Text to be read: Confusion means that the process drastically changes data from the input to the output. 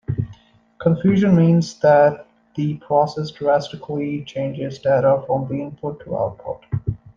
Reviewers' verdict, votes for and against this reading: rejected, 0, 2